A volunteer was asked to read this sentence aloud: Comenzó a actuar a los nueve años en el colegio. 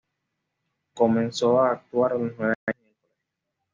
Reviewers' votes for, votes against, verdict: 1, 2, rejected